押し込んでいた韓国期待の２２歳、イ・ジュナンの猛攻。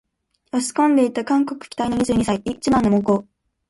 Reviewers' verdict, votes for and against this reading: rejected, 0, 2